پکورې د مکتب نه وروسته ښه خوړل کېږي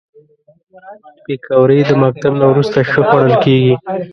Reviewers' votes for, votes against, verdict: 1, 2, rejected